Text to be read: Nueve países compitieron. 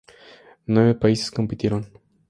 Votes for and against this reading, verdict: 4, 0, accepted